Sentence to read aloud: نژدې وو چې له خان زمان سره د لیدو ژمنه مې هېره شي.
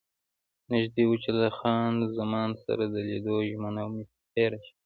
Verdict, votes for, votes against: rejected, 0, 2